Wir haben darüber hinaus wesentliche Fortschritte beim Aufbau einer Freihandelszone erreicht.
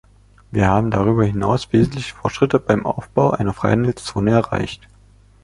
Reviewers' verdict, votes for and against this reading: accepted, 2, 0